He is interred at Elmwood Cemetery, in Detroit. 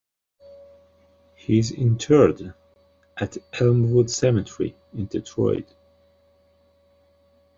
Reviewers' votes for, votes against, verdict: 2, 0, accepted